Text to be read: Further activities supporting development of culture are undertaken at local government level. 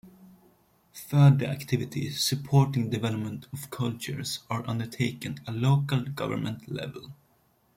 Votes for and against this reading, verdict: 2, 0, accepted